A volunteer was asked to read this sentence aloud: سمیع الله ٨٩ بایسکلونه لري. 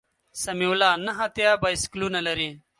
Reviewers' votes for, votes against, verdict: 0, 2, rejected